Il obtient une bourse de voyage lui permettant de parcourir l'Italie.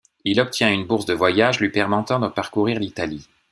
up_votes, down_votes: 1, 2